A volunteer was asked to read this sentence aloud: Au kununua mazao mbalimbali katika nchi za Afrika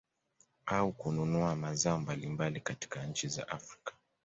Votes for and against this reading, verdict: 2, 0, accepted